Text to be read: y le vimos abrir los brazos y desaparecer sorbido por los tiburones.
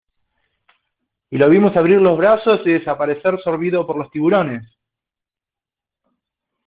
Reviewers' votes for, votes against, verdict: 2, 0, accepted